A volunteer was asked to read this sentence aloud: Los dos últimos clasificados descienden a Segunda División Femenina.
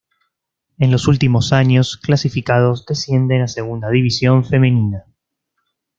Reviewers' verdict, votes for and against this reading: rejected, 0, 2